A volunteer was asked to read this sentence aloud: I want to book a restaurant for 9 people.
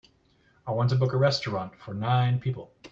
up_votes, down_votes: 0, 2